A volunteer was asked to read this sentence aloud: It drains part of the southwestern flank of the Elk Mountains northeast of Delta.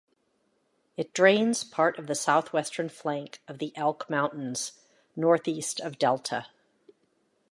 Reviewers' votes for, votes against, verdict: 2, 0, accepted